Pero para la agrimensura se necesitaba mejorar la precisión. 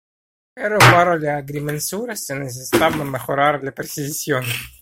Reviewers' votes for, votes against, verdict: 0, 2, rejected